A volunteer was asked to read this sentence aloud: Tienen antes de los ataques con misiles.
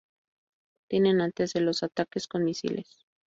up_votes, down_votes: 2, 0